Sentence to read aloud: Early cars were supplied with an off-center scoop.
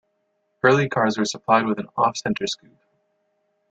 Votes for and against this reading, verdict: 1, 2, rejected